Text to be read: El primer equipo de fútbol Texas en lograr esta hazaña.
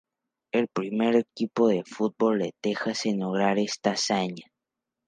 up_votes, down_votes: 0, 2